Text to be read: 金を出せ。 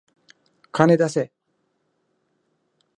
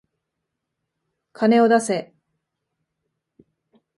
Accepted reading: second